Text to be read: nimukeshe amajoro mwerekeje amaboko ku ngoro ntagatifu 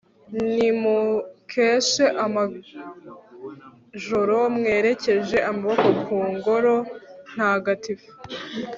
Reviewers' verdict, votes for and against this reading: rejected, 1, 2